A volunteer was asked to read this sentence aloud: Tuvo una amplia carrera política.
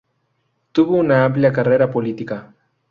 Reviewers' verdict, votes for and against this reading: accepted, 2, 0